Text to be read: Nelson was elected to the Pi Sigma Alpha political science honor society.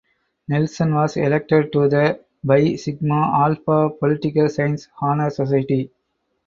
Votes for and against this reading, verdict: 0, 4, rejected